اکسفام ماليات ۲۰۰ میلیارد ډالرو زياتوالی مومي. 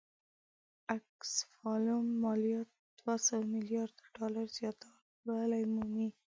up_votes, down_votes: 0, 2